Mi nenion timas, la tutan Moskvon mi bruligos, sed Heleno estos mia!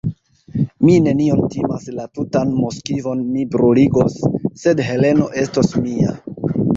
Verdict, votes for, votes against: accepted, 2, 1